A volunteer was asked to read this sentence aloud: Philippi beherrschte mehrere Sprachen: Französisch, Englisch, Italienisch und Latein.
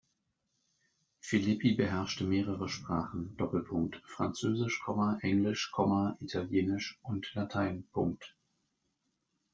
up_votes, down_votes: 0, 2